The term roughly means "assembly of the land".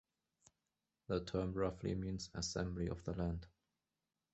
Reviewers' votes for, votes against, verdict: 2, 1, accepted